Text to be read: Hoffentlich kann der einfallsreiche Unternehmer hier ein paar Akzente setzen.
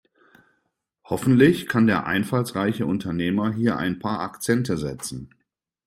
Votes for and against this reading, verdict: 2, 0, accepted